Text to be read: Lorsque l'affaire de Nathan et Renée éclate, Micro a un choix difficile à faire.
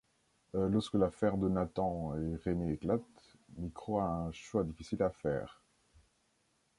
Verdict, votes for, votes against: rejected, 0, 2